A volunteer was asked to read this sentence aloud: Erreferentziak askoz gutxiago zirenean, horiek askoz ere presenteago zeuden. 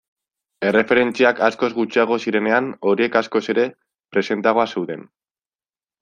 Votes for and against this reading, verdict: 2, 0, accepted